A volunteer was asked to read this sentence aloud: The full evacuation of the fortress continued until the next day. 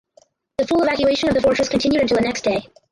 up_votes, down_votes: 0, 4